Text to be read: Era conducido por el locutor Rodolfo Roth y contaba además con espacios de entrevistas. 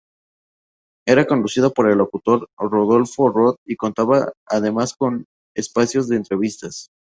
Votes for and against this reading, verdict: 2, 0, accepted